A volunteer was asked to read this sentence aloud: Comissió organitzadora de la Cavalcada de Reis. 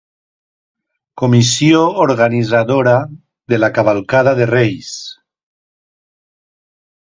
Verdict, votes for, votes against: rejected, 1, 2